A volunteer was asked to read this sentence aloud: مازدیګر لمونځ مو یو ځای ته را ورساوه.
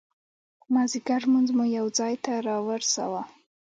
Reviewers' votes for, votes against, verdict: 2, 0, accepted